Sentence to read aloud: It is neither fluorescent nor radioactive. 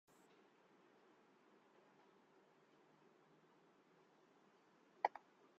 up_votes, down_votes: 0, 2